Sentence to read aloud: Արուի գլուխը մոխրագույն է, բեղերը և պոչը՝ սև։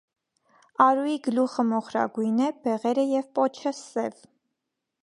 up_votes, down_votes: 2, 0